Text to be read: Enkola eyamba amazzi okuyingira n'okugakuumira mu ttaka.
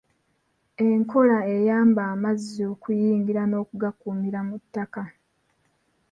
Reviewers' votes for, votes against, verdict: 1, 2, rejected